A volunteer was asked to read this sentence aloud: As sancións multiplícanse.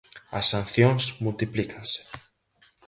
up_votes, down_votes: 4, 0